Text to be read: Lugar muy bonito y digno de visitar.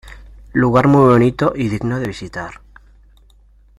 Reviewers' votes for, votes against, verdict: 2, 0, accepted